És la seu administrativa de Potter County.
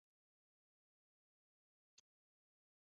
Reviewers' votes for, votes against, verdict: 0, 2, rejected